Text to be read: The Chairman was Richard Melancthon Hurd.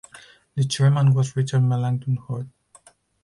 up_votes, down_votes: 4, 0